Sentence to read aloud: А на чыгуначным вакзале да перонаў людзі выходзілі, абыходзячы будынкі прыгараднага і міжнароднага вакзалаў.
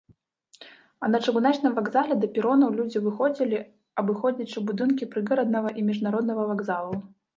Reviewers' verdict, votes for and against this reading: rejected, 1, 2